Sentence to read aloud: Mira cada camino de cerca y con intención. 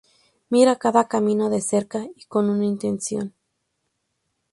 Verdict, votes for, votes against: rejected, 0, 2